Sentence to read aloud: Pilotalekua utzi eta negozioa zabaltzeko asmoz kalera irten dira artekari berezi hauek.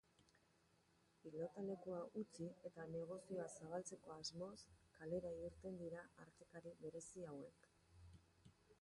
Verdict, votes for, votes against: rejected, 0, 3